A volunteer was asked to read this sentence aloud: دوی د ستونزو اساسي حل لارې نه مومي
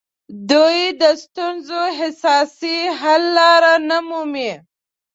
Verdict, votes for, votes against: rejected, 1, 2